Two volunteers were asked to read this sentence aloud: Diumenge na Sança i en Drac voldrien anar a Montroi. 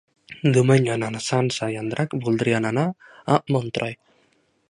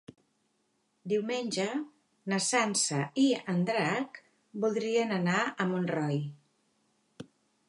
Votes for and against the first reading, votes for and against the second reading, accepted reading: 1, 2, 2, 0, second